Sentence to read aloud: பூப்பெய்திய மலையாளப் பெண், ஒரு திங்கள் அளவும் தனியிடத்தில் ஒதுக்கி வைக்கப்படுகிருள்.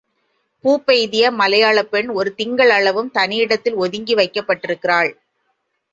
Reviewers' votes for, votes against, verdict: 3, 1, accepted